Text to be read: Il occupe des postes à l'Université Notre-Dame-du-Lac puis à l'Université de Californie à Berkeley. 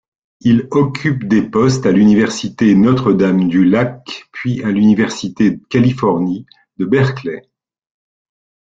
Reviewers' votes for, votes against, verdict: 1, 2, rejected